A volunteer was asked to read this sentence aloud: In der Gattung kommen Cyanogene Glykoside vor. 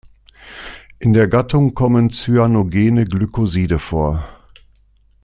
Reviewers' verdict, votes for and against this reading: accepted, 2, 0